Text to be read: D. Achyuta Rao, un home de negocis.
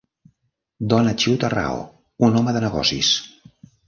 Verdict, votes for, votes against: rejected, 1, 2